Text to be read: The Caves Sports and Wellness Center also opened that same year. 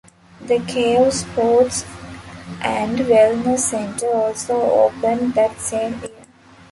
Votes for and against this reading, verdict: 0, 2, rejected